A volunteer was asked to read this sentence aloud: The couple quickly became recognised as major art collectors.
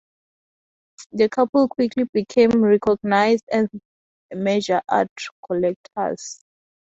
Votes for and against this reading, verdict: 2, 0, accepted